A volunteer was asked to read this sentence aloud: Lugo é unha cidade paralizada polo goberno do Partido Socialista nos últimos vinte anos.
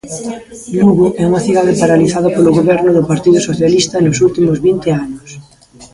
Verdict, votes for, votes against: rejected, 1, 2